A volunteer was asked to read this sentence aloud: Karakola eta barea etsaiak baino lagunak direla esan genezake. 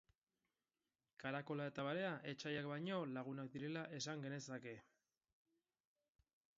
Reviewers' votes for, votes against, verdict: 4, 0, accepted